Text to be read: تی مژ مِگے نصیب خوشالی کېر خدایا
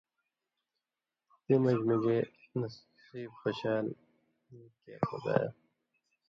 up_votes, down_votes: 2, 0